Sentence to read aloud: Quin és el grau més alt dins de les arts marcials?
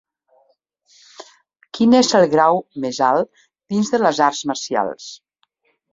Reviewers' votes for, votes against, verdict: 2, 0, accepted